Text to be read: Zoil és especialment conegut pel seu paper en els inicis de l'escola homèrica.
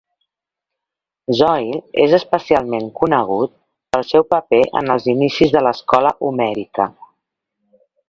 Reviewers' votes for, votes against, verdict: 2, 0, accepted